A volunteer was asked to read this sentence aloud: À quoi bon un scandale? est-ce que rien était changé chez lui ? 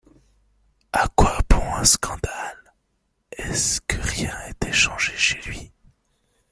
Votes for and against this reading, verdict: 2, 0, accepted